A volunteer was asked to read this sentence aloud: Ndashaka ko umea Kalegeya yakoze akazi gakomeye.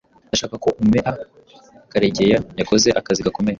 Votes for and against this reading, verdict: 1, 2, rejected